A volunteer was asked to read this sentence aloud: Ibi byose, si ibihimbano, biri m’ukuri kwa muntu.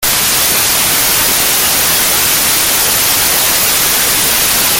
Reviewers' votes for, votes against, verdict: 0, 2, rejected